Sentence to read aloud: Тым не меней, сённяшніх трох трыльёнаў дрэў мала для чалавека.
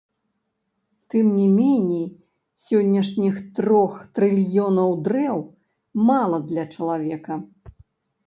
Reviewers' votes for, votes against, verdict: 0, 2, rejected